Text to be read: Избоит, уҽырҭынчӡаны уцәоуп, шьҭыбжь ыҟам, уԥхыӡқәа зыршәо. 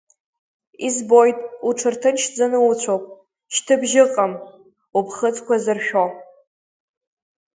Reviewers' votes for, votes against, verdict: 2, 0, accepted